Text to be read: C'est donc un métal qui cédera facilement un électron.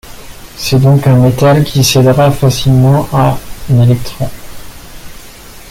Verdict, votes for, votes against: rejected, 1, 2